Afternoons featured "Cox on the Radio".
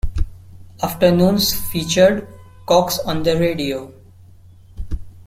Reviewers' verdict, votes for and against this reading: accepted, 2, 1